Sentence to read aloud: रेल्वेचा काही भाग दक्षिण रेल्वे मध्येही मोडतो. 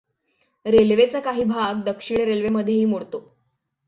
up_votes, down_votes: 6, 0